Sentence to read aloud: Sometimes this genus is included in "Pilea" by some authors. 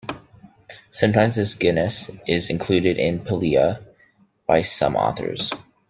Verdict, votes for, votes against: accepted, 2, 0